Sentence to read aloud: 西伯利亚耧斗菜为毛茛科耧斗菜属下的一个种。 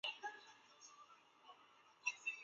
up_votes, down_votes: 2, 1